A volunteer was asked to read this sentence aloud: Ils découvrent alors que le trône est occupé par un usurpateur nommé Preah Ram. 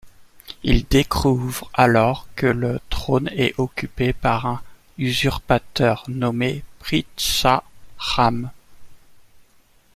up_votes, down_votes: 1, 2